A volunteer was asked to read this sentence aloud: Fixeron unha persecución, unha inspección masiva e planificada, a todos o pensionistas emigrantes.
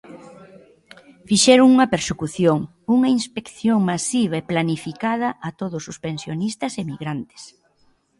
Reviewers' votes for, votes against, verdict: 2, 0, accepted